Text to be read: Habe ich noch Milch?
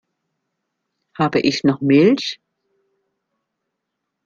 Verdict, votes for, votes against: accepted, 2, 0